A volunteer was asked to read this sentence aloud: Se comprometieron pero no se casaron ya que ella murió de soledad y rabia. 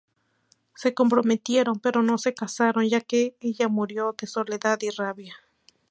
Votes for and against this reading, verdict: 4, 0, accepted